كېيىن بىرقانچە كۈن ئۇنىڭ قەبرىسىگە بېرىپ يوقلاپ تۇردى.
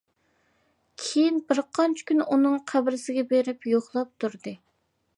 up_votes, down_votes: 2, 0